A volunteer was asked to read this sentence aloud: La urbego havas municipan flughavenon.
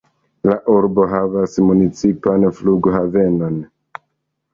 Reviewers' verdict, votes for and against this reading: rejected, 1, 2